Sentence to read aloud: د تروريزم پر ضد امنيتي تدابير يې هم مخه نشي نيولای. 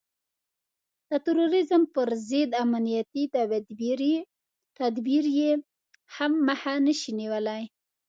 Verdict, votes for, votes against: rejected, 0, 2